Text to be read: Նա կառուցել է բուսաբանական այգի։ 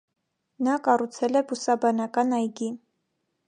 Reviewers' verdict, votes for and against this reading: accepted, 2, 0